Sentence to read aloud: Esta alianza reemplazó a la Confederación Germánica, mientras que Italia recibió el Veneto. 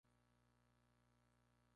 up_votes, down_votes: 0, 2